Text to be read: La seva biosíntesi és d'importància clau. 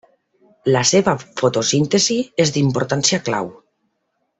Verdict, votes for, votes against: rejected, 0, 2